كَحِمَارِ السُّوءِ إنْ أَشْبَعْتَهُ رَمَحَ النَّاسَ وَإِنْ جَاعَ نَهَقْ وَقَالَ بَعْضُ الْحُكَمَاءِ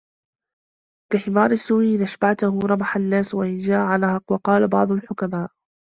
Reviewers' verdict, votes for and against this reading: accepted, 2, 1